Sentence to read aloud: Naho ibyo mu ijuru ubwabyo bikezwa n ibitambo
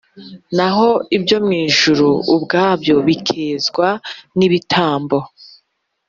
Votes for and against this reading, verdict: 3, 0, accepted